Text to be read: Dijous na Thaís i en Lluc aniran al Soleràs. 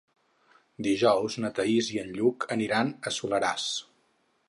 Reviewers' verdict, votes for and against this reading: rejected, 0, 4